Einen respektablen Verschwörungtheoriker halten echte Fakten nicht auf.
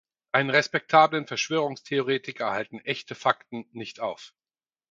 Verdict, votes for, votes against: accepted, 4, 0